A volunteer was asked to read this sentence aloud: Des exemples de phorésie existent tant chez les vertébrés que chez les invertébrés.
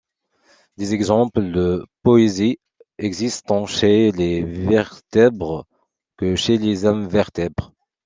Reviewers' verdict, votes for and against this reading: rejected, 0, 2